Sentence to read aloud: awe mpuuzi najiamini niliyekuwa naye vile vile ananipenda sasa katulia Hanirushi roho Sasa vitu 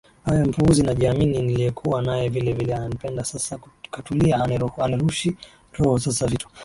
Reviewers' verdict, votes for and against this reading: accepted, 3, 1